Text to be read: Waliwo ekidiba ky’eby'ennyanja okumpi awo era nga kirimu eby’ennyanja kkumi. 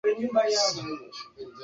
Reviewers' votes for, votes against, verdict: 0, 2, rejected